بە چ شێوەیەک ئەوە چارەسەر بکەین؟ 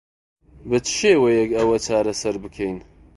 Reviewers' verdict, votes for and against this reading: accepted, 2, 0